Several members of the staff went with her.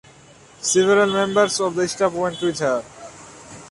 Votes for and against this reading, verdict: 2, 1, accepted